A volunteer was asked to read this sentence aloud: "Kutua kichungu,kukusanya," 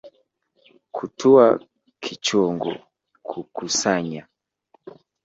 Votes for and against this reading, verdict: 2, 0, accepted